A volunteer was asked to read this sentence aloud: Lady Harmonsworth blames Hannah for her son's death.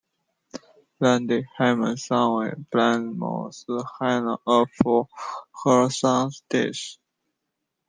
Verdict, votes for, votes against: rejected, 0, 2